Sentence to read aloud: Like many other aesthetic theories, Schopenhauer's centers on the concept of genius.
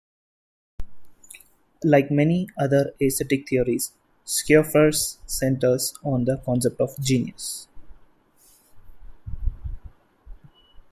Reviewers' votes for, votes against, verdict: 2, 1, accepted